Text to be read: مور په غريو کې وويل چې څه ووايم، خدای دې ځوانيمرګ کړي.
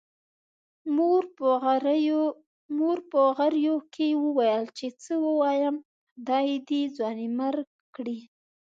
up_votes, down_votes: 0, 2